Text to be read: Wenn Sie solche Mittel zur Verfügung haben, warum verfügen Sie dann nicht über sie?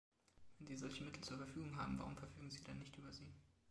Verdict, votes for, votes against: accepted, 2, 0